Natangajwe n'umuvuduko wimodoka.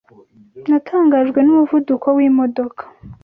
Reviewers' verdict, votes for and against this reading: accepted, 2, 0